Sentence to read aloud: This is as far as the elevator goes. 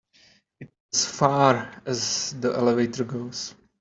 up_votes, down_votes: 1, 2